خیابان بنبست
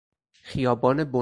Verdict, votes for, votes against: rejected, 2, 4